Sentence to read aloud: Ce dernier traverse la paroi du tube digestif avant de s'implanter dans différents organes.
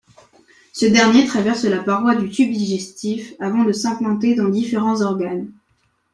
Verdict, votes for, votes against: accepted, 3, 0